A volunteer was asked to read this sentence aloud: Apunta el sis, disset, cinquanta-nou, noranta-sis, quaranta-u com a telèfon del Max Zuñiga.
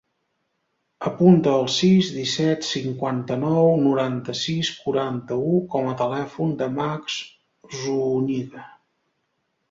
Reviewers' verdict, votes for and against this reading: rejected, 1, 2